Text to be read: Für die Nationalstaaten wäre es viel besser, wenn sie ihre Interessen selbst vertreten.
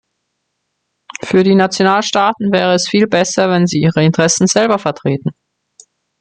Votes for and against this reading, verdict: 0, 2, rejected